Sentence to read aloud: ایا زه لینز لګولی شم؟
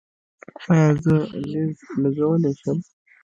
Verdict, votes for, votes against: rejected, 0, 2